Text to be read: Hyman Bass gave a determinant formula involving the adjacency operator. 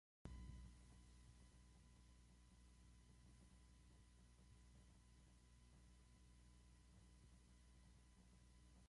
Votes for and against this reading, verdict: 0, 2, rejected